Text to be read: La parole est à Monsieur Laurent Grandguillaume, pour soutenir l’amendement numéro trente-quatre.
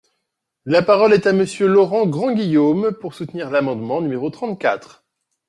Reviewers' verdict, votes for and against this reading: accepted, 2, 0